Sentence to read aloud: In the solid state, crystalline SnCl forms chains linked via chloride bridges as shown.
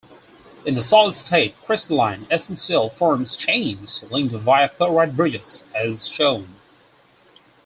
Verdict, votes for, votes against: rejected, 0, 4